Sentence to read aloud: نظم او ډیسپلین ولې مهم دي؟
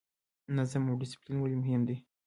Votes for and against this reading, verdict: 1, 2, rejected